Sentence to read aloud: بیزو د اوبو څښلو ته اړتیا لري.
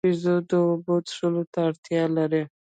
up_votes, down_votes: 1, 2